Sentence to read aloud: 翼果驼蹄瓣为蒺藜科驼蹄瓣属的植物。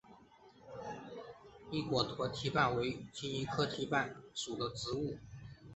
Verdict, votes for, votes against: accepted, 2, 0